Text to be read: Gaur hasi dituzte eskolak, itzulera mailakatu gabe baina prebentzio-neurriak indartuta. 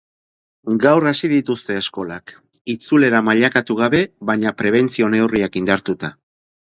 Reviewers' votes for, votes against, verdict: 2, 0, accepted